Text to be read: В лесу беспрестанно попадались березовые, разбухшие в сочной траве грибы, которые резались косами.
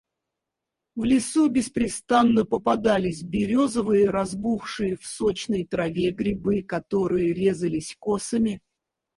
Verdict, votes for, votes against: rejected, 2, 4